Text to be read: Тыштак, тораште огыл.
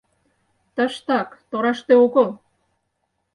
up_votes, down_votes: 4, 0